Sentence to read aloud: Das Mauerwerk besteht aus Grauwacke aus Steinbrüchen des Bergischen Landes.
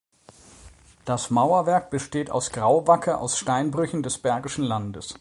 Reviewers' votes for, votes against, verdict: 2, 0, accepted